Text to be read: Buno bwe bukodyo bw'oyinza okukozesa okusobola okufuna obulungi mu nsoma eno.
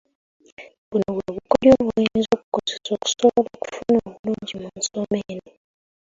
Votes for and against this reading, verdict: 0, 2, rejected